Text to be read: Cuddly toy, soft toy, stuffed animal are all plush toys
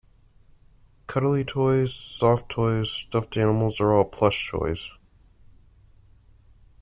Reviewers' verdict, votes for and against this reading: rejected, 0, 2